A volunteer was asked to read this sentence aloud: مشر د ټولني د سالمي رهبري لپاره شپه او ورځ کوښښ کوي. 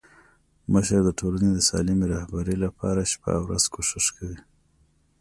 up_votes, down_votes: 2, 0